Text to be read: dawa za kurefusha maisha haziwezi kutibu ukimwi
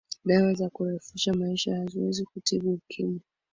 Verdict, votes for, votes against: rejected, 2, 2